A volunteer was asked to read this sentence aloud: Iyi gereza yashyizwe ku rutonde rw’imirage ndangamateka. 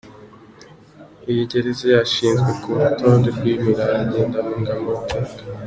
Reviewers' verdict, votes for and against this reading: accepted, 2, 1